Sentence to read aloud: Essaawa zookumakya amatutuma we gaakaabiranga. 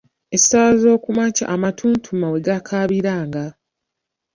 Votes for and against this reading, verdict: 1, 2, rejected